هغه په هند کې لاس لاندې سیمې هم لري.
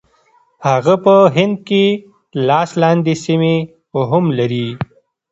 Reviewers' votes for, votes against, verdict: 2, 0, accepted